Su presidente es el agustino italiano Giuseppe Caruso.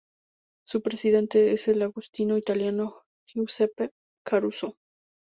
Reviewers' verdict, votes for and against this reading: rejected, 0, 2